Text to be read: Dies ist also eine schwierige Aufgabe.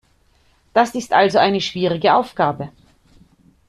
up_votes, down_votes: 0, 2